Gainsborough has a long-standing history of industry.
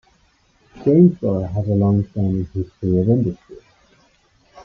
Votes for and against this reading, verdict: 0, 2, rejected